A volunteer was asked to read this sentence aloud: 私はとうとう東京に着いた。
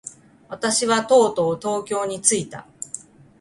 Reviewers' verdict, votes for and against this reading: accepted, 2, 0